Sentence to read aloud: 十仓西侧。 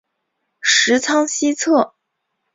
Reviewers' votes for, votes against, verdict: 2, 0, accepted